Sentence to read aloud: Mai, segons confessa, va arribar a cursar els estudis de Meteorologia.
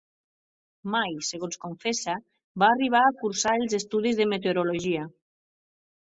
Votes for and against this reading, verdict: 4, 0, accepted